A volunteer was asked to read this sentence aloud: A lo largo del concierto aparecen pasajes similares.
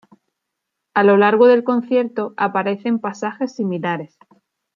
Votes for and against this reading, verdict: 2, 0, accepted